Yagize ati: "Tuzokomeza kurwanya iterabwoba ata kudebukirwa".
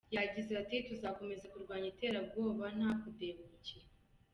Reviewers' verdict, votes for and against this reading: rejected, 0, 2